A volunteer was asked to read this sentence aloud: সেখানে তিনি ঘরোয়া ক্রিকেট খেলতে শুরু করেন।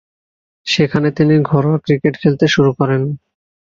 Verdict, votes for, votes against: accepted, 2, 0